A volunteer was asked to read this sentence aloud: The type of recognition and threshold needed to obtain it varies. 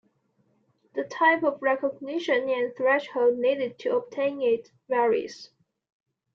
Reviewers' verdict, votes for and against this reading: accepted, 2, 0